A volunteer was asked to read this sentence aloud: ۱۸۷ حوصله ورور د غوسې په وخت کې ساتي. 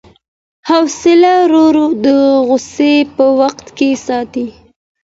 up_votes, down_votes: 0, 2